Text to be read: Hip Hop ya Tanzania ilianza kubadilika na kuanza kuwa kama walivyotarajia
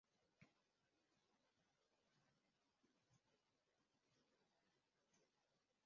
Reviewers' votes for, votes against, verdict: 0, 2, rejected